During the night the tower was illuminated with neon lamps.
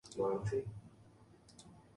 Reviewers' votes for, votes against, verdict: 0, 2, rejected